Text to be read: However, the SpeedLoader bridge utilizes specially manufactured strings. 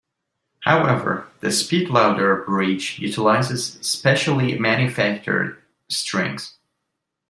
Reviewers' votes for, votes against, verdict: 2, 0, accepted